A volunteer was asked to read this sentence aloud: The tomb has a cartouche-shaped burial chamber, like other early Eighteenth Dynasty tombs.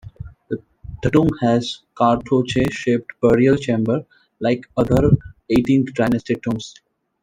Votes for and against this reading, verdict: 0, 2, rejected